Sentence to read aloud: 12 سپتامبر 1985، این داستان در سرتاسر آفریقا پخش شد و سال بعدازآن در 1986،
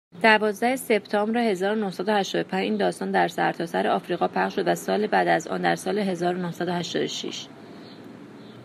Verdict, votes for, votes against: rejected, 0, 2